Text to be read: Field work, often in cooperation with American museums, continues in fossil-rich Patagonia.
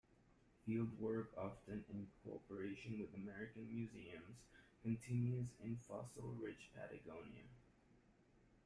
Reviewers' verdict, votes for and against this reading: accepted, 2, 1